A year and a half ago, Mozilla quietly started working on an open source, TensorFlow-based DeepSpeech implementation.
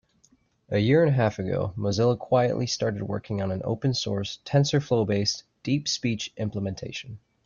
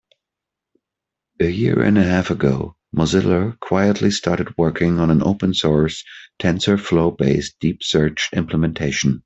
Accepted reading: first